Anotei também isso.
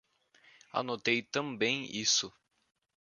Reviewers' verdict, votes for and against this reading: accepted, 2, 0